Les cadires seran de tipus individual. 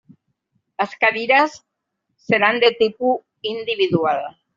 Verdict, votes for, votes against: rejected, 1, 2